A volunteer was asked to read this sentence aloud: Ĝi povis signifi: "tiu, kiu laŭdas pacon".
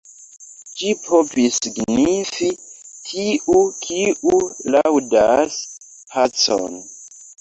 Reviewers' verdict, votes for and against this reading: accepted, 2, 1